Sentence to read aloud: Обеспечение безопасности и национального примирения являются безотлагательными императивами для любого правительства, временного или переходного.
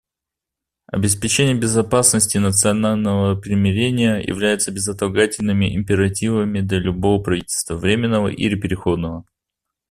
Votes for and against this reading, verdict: 1, 2, rejected